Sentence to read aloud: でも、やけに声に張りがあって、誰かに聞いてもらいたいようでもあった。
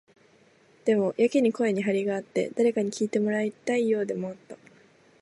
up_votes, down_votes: 12, 1